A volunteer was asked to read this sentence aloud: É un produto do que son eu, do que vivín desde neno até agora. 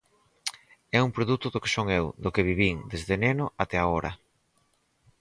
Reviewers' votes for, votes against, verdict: 2, 4, rejected